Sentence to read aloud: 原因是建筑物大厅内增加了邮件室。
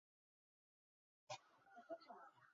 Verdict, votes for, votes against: rejected, 0, 4